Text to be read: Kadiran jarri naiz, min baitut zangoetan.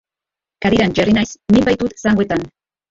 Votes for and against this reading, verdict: 0, 2, rejected